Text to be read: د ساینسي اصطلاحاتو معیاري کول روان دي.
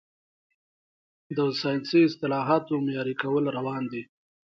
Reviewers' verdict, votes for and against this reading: rejected, 1, 2